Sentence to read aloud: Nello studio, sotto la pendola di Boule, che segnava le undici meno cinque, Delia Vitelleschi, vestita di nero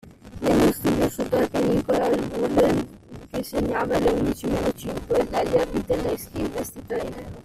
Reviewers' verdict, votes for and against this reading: rejected, 0, 2